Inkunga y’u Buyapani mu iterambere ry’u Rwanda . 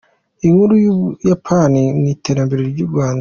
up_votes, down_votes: 1, 2